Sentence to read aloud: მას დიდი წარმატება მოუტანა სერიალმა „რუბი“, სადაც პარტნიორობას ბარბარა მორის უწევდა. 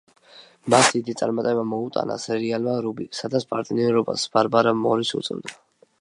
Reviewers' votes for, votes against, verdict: 2, 0, accepted